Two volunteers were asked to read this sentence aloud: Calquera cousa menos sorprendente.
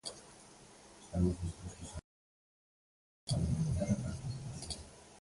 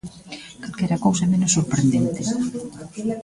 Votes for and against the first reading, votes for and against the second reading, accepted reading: 0, 2, 2, 0, second